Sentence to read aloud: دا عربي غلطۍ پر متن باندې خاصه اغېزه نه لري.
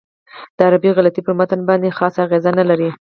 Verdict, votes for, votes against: rejected, 4, 6